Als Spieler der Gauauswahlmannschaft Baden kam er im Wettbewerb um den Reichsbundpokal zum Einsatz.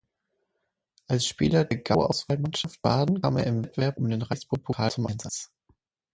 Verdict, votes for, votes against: rejected, 0, 6